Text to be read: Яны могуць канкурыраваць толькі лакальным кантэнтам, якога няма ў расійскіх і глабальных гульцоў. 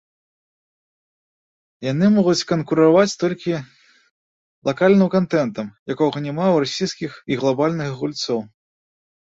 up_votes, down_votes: 0, 2